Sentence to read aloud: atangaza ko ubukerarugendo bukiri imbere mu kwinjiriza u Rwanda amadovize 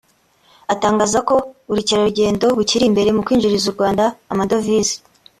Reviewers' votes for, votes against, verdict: 2, 0, accepted